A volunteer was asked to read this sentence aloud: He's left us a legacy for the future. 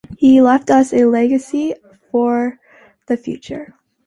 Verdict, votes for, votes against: accepted, 2, 1